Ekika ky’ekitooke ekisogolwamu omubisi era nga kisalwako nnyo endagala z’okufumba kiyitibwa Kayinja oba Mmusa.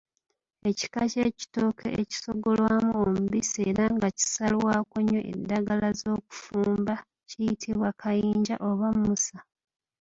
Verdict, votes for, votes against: accepted, 2, 0